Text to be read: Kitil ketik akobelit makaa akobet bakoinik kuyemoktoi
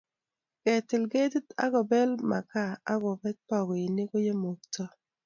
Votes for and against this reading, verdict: 1, 2, rejected